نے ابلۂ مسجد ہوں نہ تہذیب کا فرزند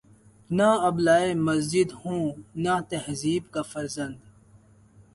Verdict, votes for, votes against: accepted, 2, 0